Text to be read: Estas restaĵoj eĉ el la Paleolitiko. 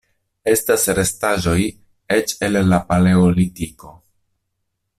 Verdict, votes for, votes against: accepted, 2, 0